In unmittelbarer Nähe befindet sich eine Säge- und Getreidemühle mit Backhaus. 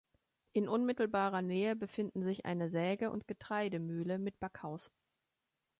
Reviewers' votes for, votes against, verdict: 0, 2, rejected